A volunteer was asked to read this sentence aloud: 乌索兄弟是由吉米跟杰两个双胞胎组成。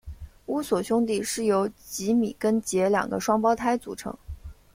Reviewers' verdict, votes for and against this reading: accepted, 2, 0